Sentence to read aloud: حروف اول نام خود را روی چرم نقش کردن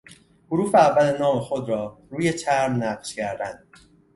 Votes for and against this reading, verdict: 2, 0, accepted